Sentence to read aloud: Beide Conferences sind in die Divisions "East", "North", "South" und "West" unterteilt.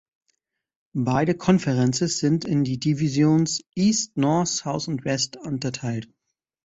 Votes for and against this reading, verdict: 1, 2, rejected